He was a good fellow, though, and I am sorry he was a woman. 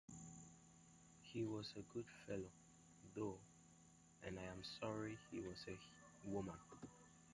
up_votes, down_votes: 1, 2